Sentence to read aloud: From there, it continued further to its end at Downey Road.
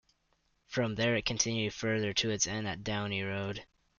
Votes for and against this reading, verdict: 2, 0, accepted